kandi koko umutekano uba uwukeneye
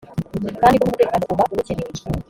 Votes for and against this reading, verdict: 0, 2, rejected